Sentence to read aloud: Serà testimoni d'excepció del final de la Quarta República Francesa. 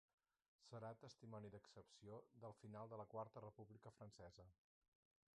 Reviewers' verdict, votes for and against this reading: rejected, 0, 4